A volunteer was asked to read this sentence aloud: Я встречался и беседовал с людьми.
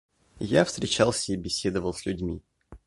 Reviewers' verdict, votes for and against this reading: accepted, 2, 0